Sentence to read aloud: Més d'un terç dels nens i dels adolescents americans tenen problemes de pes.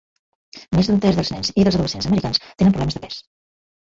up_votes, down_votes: 1, 2